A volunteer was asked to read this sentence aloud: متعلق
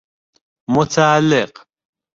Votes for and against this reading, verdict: 2, 0, accepted